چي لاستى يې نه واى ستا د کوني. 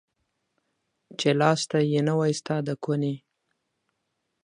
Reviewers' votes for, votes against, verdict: 6, 0, accepted